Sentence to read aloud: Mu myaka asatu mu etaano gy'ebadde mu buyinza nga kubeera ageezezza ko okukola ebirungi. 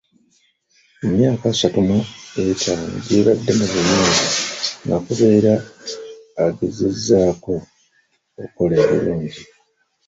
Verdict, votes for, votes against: rejected, 1, 3